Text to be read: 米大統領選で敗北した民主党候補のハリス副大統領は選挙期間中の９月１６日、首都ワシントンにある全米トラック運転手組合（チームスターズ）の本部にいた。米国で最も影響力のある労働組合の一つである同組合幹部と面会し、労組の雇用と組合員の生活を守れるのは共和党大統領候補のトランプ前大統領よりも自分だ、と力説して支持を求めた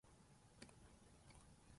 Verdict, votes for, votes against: rejected, 0, 2